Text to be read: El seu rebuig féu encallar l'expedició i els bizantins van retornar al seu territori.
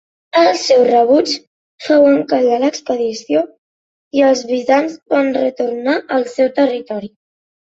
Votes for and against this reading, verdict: 1, 2, rejected